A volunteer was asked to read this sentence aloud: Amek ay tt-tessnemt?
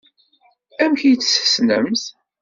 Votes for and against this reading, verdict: 2, 0, accepted